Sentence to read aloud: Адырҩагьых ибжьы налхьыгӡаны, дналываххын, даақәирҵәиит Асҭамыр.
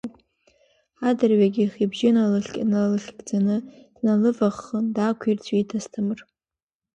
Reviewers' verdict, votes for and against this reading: accepted, 2, 0